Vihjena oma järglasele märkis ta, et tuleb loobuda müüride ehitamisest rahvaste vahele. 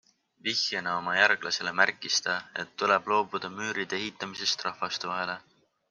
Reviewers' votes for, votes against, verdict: 6, 0, accepted